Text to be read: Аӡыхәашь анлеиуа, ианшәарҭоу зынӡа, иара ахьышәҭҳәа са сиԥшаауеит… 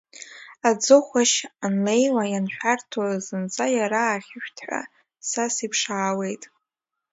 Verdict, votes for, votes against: accepted, 2, 1